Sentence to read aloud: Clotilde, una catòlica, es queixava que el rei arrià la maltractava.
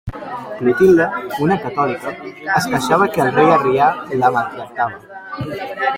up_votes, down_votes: 0, 2